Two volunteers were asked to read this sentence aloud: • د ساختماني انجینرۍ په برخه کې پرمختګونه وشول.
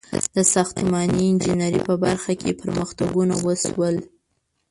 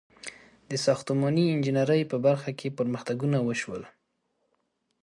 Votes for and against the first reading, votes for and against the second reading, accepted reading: 1, 2, 2, 0, second